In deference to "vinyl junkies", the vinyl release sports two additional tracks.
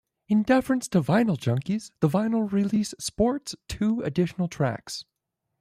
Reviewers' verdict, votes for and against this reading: rejected, 0, 2